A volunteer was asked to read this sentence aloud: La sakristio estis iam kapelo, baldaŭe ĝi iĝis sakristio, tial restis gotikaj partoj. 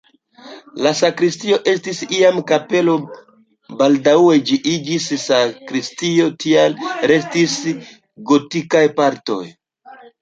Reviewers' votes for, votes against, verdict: 0, 2, rejected